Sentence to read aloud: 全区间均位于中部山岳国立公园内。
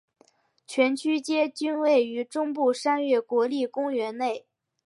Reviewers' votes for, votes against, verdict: 5, 0, accepted